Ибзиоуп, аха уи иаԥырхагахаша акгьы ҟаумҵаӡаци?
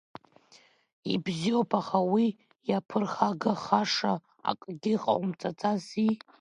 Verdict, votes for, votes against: rejected, 0, 2